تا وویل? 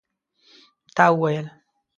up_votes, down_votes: 2, 0